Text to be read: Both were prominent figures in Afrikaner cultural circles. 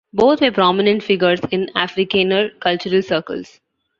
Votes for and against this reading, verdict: 2, 0, accepted